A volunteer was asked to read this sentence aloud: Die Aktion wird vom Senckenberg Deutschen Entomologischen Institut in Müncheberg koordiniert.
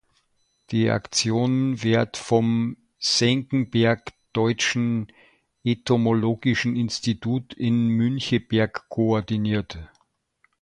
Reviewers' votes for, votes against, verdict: 2, 1, accepted